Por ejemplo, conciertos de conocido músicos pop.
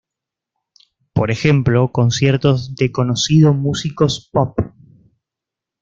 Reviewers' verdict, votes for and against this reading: accepted, 2, 1